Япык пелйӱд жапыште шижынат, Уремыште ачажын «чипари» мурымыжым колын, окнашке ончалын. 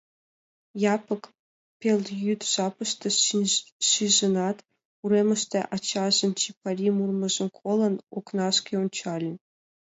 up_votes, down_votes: 2, 0